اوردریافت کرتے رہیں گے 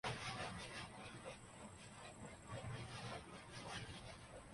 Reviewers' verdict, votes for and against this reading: rejected, 0, 2